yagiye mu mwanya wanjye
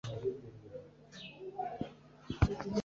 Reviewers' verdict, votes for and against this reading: rejected, 1, 2